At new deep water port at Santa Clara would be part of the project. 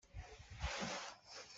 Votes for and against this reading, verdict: 0, 2, rejected